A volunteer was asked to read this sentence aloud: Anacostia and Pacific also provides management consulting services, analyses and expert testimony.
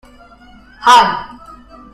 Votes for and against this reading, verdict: 0, 2, rejected